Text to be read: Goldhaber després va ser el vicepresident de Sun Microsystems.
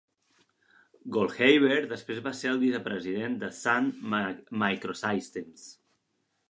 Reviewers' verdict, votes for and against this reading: rejected, 0, 2